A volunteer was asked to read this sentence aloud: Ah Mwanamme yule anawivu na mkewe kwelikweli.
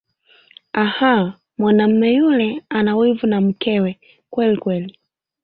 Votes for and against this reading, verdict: 2, 1, accepted